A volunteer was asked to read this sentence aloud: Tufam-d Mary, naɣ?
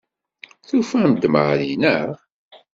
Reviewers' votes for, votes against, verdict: 2, 0, accepted